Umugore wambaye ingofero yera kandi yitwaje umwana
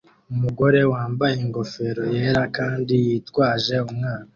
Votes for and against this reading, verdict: 2, 1, accepted